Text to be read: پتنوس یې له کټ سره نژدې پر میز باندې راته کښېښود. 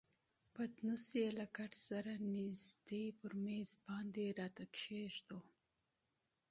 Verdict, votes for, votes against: accepted, 2, 0